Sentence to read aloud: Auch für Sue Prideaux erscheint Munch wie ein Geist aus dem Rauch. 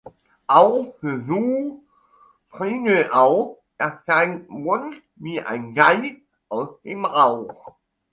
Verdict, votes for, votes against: rejected, 1, 2